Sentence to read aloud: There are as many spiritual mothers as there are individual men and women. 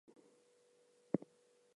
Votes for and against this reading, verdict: 0, 4, rejected